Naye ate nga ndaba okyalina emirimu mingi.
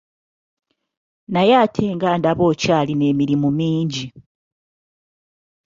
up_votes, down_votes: 2, 0